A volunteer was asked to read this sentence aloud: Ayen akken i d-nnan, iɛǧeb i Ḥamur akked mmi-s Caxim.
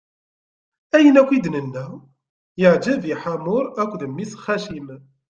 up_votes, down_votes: 0, 2